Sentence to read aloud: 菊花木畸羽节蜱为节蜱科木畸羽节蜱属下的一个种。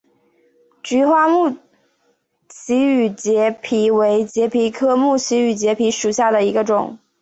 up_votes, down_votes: 2, 0